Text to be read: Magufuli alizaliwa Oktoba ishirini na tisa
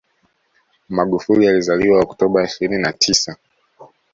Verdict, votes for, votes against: accepted, 2, 0